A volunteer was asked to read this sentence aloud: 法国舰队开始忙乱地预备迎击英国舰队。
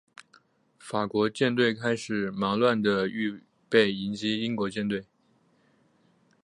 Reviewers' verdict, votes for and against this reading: accepted, 4, 0